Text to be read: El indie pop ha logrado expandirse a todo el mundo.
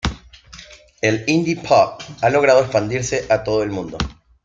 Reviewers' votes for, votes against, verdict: 2, 0, accepted